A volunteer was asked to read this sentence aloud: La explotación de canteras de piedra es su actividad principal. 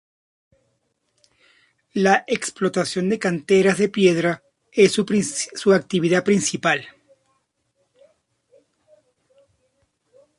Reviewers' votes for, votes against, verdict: 0, 2, rejected